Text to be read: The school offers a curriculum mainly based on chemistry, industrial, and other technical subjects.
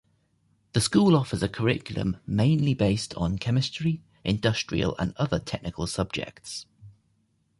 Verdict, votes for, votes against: rejected, 0, 2